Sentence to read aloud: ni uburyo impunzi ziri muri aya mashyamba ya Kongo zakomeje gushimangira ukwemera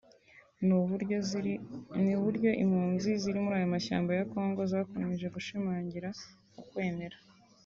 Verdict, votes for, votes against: rejected, 2, 4